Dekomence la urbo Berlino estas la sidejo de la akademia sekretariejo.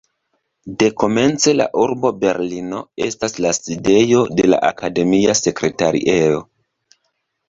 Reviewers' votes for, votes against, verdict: 1, 2, rejected